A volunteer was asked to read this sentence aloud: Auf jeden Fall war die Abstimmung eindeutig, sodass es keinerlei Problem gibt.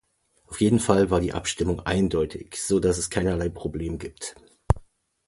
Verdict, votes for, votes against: accepted, 3, 0